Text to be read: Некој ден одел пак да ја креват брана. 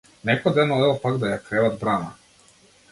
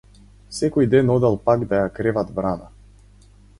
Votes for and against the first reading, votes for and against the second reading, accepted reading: 2, 0, 0, 4, first